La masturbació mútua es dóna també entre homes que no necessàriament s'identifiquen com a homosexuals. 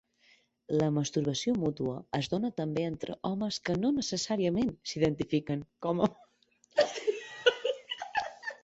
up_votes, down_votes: 0, 2